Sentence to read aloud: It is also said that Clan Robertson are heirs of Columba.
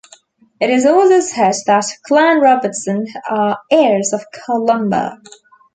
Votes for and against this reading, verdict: 2, 0, accepted